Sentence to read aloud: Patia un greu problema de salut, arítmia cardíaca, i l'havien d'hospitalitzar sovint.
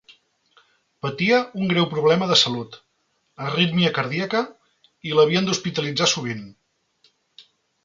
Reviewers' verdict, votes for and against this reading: accepted, 4, 0